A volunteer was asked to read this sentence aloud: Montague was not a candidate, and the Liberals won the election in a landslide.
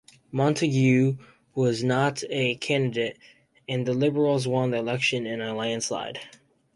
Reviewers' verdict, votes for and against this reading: accepted, 2, 0